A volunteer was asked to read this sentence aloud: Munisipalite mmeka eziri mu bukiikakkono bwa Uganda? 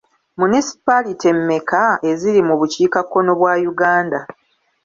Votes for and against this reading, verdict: 2, 0, accepted